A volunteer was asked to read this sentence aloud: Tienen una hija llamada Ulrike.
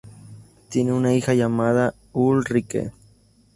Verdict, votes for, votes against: accepted, 2, 0